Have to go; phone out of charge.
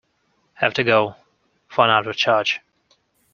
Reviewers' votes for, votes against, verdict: 2, 0, accepted